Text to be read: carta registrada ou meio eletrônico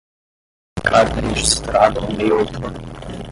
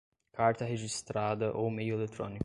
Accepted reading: second